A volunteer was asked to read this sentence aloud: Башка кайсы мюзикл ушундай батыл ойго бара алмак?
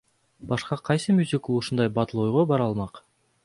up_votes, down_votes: 2, 1